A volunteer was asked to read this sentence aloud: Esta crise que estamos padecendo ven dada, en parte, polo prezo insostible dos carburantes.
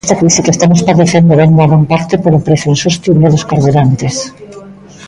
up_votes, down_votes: 1, 2